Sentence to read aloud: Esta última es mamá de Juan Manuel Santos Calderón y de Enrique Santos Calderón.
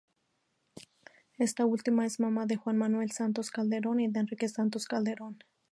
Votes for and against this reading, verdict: 2, 0, accepted